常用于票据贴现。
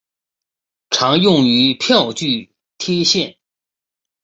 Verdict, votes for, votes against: accepted, 3, 0